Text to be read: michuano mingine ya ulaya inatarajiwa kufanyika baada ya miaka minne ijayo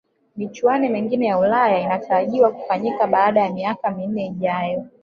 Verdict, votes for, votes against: accepted, 3, 0